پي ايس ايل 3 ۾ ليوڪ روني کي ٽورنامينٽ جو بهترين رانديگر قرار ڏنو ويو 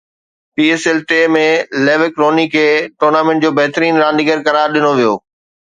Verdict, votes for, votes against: rejected, 0, 2